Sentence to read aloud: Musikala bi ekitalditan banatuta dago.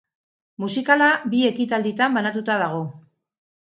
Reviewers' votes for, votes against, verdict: 4, 0, accepted